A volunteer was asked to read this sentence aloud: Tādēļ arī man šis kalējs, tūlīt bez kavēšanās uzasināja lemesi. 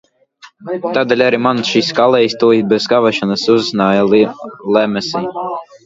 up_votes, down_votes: 1, 2